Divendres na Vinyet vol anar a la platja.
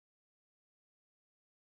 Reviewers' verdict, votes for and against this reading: rejected, 0, 2